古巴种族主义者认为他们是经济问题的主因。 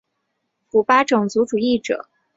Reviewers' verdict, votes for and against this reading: rejected, 1, 2